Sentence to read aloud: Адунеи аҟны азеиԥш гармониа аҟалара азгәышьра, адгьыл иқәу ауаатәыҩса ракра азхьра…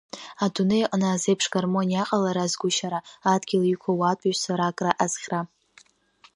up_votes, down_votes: 0, 2